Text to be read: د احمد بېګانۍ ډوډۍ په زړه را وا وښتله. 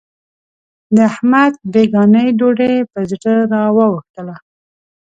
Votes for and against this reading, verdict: 2, 0, accepted